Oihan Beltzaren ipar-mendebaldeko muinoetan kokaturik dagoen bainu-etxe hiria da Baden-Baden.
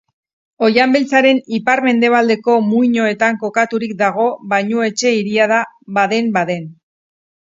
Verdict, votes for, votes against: rejected, 2, 2